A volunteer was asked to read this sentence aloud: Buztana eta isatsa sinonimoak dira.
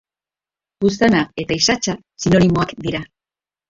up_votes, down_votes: 1, 2